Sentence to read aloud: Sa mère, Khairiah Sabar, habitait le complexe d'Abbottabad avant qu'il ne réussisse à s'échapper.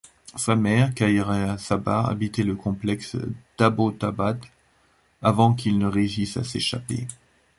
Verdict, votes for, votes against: accepted, 2, 0